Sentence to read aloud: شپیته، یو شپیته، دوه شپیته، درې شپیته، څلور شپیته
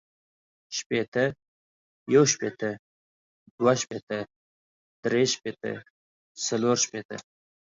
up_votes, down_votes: 2, 0